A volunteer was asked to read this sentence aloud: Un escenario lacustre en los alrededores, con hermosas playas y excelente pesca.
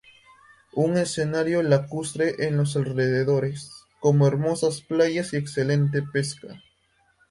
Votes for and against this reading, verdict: 0, 2, rejected